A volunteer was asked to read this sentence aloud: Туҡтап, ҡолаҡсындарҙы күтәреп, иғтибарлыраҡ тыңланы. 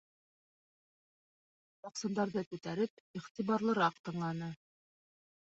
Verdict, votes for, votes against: rejected, 0, 2